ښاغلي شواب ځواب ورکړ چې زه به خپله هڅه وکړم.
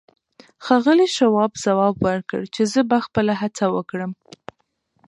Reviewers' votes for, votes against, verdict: 2, 1, accepted